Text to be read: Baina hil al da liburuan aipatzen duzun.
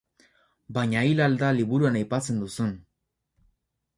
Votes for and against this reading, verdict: 4, 0, accepted